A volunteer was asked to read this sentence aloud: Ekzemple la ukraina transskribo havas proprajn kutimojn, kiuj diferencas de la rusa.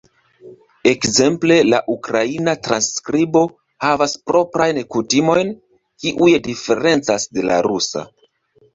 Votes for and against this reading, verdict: 2, 1, accepted